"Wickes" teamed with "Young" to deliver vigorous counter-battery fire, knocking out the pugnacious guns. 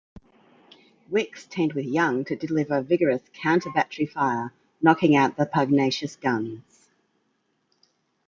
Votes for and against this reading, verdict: 2, 0, accepted